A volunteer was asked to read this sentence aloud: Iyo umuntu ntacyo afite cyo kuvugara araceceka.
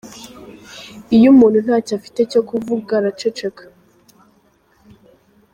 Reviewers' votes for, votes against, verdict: 2, 0, accepted